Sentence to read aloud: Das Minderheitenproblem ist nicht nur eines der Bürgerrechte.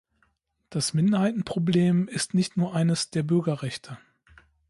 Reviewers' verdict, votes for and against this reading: accepted, 2, 0